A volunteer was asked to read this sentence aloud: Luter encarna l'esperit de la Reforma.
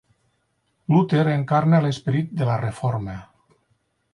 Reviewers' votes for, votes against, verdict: 6, 0, accepted